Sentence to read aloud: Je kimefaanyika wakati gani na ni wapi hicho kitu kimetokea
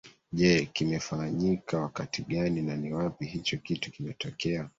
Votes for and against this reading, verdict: 1, 2, rejected